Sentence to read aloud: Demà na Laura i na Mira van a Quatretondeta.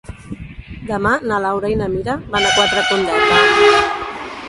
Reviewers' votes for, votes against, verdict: 0, 2, rejected